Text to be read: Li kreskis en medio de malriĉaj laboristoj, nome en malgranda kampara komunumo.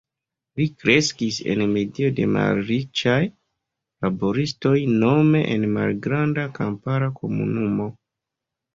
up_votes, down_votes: 1, 2